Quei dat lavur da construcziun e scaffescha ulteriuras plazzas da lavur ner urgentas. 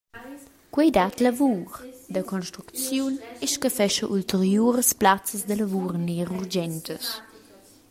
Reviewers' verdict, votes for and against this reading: accepted, 2, 1